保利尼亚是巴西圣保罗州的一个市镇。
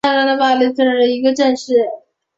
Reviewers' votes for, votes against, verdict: 0, 4, rejected